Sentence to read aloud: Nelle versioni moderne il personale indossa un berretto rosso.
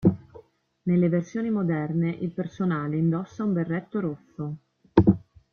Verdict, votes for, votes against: accepted, 2, 1